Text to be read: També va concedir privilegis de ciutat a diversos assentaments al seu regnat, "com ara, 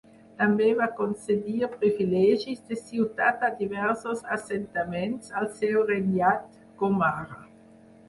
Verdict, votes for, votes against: rejected, 0, 4